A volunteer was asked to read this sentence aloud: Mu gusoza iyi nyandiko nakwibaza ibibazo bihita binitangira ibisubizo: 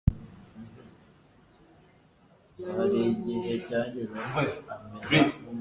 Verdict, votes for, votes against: rejected, 0, 3